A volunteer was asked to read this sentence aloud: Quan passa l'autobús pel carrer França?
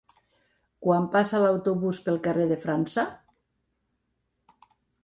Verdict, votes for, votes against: rejected, 1, 2